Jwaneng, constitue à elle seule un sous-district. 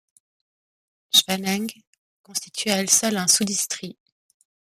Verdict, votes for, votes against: rejected, 1, 2